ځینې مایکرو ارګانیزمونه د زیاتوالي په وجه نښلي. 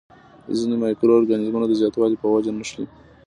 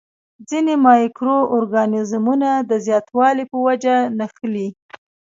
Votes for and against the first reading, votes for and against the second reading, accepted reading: 2, 0, 1, 2, first